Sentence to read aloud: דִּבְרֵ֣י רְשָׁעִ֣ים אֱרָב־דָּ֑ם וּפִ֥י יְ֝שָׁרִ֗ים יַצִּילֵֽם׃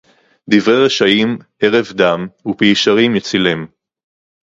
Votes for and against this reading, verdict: 2, 0, accepted